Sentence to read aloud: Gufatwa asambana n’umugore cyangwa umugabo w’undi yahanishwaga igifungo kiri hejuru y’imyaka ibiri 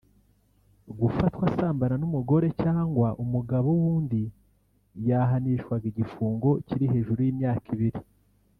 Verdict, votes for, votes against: accepted, 3, 1